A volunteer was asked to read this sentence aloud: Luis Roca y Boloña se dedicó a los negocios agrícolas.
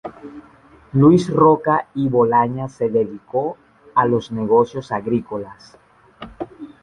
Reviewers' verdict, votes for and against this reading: rejected, 1, 2